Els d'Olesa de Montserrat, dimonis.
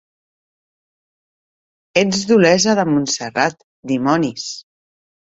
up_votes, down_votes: 0, 2